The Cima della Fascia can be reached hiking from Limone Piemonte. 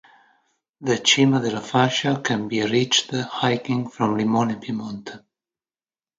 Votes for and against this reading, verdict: 2, 0, accepted